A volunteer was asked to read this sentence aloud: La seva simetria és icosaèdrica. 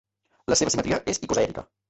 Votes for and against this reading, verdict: 0, 2, rejected